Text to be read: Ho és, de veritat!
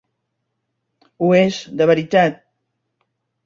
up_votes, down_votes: 4, 0